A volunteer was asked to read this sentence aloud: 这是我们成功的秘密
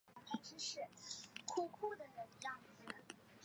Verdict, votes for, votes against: rejected, 1, 2